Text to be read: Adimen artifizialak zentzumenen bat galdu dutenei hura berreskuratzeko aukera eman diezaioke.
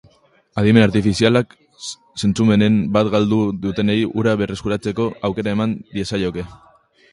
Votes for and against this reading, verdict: 0, 3, rejected